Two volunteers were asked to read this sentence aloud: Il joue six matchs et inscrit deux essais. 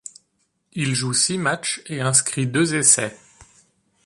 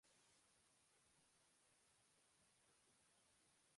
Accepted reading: first